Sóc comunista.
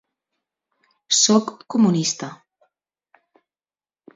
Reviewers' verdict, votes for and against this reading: accepted, 2, 0